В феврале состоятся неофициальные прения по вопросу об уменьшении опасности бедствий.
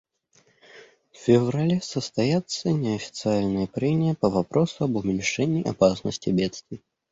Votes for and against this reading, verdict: 2, 0, accepted